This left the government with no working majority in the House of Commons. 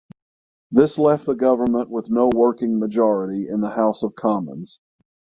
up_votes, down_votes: 3, 3